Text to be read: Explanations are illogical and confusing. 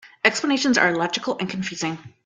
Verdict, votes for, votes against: accepted, 2, 0